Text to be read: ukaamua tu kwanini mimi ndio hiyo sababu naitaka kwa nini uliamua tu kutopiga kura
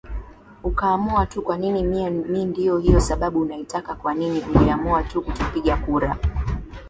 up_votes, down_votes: 2, 0